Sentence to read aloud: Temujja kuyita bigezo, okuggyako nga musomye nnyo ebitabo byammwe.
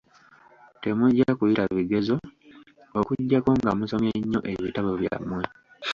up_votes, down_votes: 2, 0